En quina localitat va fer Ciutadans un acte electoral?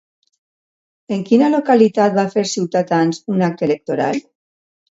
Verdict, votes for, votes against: rejected, 1, 2